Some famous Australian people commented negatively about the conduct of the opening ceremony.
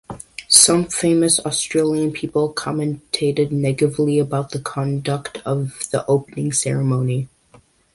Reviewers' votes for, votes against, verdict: 0, 2, rejected